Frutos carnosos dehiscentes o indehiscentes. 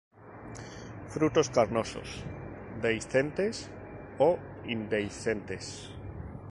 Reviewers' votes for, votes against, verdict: 0, 2, rejected